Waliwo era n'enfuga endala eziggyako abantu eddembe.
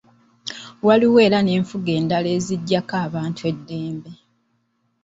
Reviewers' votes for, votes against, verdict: 2, 0, accepted